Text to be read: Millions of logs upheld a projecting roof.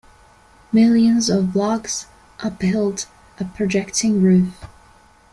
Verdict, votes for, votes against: accepted, 2, 0